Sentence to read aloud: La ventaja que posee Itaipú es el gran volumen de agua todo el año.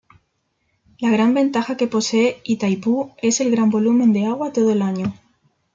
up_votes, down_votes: 0, 2